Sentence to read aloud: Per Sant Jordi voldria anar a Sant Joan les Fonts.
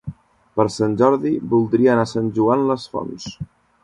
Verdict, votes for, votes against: accepted, 2, 0